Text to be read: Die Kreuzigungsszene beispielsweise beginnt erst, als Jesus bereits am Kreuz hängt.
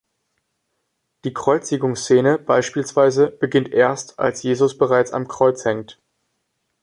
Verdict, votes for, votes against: accepted, 2, 0